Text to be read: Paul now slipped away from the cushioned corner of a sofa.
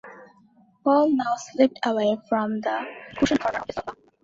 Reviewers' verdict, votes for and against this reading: rejected, 0, 2